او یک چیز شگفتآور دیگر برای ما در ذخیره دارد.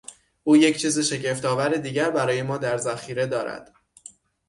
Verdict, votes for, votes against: accepted, 6, 0